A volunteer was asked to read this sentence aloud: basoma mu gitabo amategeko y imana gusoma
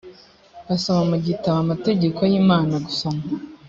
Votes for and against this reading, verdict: 2, 0, accepted